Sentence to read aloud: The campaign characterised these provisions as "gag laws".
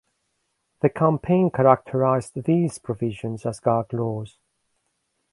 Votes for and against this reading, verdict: 2, 1, accepted